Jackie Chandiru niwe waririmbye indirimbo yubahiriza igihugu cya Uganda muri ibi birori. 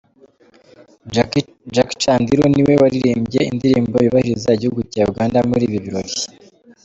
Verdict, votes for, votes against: accepted, 2, 0